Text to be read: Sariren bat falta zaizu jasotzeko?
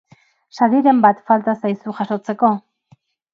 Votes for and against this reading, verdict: 6, 0, accepted